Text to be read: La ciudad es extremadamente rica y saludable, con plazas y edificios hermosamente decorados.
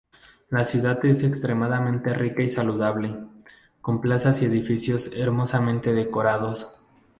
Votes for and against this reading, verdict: 2, 0, accepted